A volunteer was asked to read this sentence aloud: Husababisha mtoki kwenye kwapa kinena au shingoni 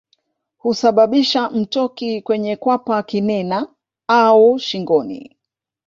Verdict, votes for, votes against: accepted, 2, 0